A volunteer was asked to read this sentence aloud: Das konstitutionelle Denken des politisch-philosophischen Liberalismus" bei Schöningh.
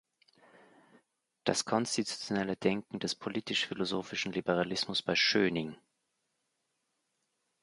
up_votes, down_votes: 0, 2